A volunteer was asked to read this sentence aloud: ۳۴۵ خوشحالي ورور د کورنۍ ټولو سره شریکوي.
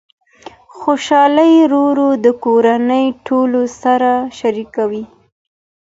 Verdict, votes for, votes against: rejected, 0, 2